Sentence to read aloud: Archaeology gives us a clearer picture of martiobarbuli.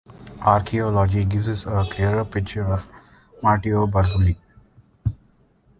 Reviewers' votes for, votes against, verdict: 2, 0, accepted